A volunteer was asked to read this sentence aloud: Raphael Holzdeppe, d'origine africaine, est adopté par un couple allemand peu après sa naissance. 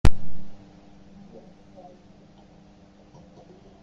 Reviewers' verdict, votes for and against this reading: rejected, 0, 2